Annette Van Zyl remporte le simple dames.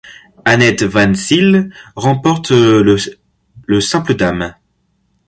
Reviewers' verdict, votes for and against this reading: rejected, 0, 2